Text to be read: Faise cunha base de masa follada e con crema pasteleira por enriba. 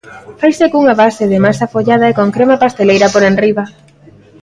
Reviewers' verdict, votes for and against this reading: accepted, 3, 0